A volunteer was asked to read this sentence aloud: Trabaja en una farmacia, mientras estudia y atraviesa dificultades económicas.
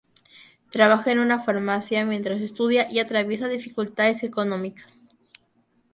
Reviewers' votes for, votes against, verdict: 2, 0, accepted